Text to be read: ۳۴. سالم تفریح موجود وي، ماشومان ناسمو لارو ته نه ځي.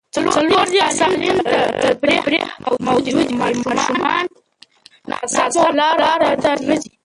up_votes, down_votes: 0, 2